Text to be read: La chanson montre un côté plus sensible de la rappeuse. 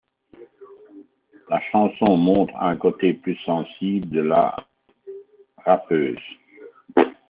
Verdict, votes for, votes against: accepted, 2, 1